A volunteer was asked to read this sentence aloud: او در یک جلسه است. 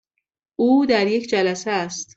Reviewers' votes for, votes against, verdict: 2, 0, accepted